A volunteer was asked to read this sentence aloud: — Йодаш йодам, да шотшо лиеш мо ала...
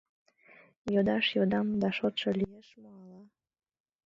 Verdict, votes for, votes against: rejected, 0, 2